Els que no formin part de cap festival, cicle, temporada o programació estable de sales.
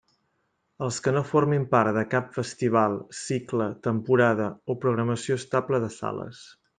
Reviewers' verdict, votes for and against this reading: accepted, 3, 0